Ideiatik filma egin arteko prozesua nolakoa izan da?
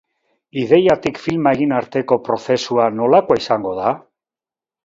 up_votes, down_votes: 0, 2